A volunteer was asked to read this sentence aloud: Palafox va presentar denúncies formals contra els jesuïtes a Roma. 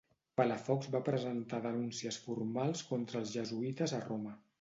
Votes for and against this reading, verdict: 2, 1, accepted